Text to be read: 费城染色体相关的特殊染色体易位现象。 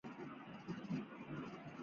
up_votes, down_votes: 0, 2